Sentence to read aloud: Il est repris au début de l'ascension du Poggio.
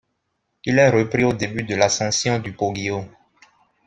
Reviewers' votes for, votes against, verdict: 2, 0, accepted